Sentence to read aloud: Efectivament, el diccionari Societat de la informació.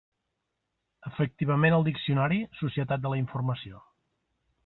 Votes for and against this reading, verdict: 0, 2, rejected